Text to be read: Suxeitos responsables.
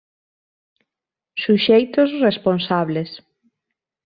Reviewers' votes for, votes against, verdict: 2, 0, accepted